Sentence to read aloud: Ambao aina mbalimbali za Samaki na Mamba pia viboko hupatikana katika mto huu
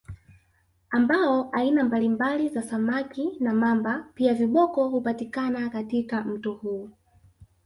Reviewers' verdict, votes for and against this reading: rejected, 0, 2